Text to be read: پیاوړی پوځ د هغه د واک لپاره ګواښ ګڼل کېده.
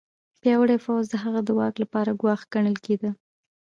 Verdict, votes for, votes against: accepted, 2, 1